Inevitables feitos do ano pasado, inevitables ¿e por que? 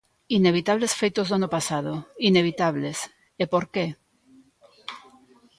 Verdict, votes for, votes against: accepted, 2, 0